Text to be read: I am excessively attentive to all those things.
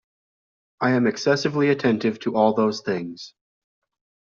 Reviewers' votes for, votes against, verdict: 2, 0, accepted